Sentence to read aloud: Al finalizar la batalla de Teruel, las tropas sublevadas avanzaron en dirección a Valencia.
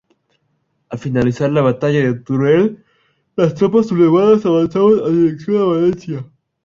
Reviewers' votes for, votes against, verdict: 0, 2, rejected